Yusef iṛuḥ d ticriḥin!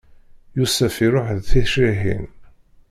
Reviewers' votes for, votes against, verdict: 0, 2, rejected